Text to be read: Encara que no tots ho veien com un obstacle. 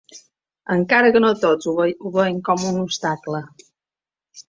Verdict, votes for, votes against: rejected, 0, 2